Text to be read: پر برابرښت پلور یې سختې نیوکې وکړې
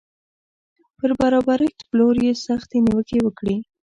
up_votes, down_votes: 2, 0